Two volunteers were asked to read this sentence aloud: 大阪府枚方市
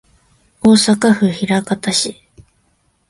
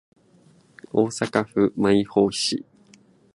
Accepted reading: first